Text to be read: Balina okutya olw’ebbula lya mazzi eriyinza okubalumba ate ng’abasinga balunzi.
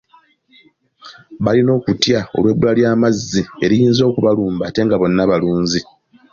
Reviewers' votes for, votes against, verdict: 0, 2, rejected